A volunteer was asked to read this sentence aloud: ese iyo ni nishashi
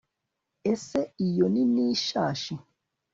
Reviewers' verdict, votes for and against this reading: accepted, 2, 0